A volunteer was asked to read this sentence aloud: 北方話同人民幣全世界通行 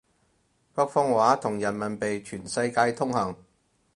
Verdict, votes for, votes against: accepted, 4, 0